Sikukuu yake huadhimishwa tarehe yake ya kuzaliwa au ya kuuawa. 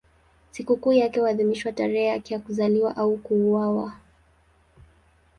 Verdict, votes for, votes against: accepted, 2, 0